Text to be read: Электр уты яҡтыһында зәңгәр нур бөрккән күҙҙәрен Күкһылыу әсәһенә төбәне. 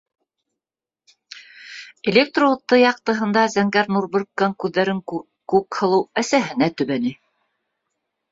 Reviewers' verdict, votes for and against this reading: rejected, 1, 2